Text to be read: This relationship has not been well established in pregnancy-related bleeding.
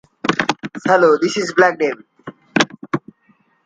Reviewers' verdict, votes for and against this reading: rejected, 0, 2